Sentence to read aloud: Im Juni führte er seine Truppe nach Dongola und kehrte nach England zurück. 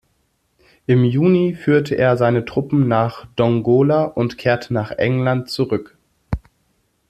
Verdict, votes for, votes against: rejected, 0, 2